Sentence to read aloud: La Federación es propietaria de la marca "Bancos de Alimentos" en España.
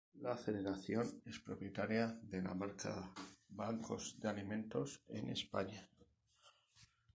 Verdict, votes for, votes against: rejected, 0, 2